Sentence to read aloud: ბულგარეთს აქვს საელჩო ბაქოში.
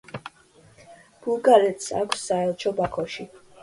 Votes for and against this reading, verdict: 2, 1, accepted